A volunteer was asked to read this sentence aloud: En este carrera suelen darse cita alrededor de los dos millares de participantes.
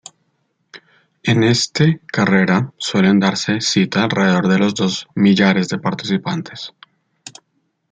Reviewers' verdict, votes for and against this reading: accepted, 2, 0